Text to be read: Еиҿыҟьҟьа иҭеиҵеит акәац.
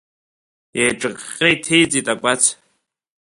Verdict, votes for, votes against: accepted, 2, 0